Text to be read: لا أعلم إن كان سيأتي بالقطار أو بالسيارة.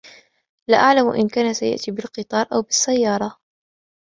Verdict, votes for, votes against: accepted, 2, 1